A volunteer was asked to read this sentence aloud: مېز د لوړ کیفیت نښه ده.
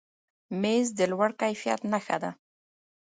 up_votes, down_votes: 1, 2